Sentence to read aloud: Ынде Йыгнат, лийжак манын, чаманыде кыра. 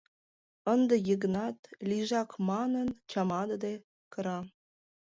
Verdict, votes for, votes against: rejected, 0, 2